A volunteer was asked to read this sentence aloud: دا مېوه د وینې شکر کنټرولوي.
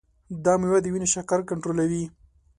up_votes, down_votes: 2, 0